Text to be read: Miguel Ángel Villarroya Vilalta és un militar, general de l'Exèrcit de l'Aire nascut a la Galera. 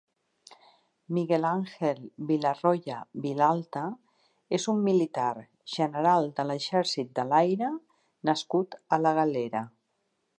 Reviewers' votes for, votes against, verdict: 3, 1, accepted